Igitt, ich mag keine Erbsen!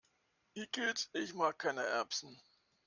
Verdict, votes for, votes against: accepted, 2, 0